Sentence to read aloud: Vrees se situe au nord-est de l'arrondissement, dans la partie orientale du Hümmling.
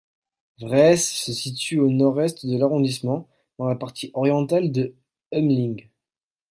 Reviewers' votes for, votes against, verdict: 1, 2, rejected